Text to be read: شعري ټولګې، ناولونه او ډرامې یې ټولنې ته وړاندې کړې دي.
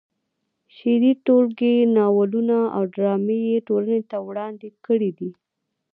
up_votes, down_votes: 1, 2